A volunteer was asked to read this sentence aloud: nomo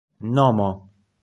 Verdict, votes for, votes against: rejected, 0, 2